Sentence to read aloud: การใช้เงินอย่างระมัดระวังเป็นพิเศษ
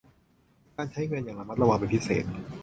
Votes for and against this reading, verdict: 2, 0, accepted